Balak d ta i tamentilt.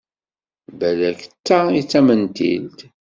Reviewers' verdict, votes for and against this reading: rejected, 1, 2